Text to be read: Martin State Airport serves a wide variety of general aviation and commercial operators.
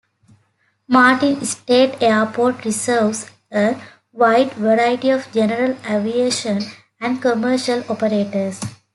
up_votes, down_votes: 3, 1